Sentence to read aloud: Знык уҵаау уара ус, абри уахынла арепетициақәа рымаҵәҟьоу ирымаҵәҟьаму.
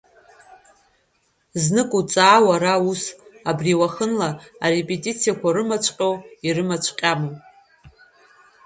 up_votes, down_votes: 1, 2